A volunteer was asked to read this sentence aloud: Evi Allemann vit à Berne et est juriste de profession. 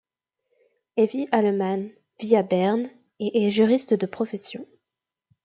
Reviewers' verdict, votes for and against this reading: accepted, 2, 0